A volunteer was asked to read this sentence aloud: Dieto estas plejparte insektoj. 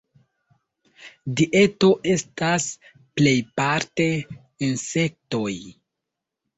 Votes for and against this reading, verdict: 2, 1, accepted